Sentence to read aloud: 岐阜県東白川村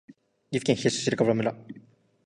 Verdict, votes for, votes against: accepted, 3, 1